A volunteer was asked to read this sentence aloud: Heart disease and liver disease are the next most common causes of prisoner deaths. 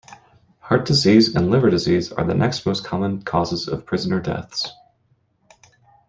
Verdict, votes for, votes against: accepted, 2, 0